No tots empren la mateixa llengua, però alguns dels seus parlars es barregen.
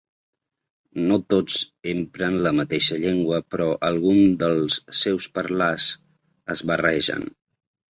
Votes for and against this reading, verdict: 2, 1, accepted